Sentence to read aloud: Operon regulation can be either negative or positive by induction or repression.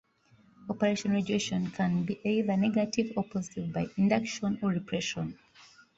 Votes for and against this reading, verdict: 2, 0, accepted